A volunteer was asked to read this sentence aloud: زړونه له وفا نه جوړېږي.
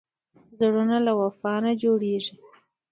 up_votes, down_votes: 2, 0